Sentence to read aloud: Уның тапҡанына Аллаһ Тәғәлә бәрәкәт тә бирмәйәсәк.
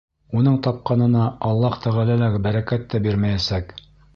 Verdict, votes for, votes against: accepted, 2, 0